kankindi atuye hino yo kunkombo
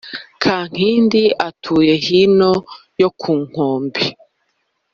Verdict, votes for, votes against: rejected, 1, 2